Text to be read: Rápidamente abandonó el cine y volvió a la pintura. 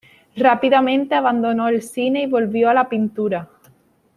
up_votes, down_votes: 2, 0